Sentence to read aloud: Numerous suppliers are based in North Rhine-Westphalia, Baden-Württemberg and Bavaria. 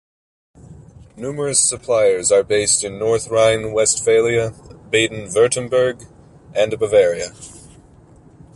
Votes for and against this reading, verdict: 2, 0, accepted